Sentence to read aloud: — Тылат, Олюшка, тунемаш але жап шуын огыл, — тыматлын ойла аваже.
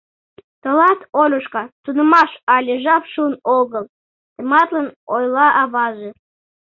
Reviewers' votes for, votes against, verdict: 2, 0, accepted